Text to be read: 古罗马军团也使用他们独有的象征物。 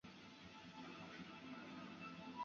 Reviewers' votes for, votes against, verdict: 1, 2, rejected